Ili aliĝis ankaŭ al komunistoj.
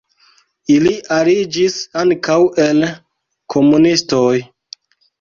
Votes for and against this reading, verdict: 0, 2, rejected